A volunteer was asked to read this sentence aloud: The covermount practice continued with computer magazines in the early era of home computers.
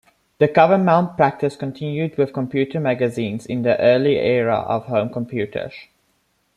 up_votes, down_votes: 1, 2